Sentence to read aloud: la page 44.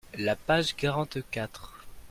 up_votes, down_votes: 0, 2